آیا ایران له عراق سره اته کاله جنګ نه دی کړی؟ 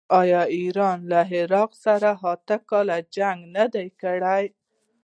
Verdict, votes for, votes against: rejected, 1, 2